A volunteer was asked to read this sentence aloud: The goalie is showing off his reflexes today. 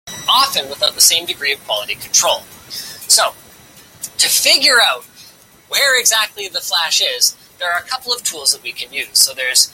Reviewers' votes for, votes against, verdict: 0, 2, rejected